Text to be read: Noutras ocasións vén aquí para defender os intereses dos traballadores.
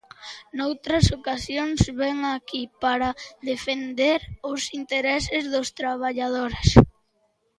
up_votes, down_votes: 0, 2